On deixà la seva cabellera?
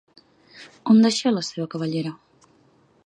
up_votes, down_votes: 2, 0